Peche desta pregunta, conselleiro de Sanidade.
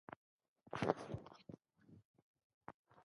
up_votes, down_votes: 0, 2